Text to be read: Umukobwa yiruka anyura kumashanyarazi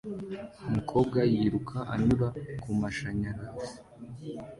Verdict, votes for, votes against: accepted, 2, 0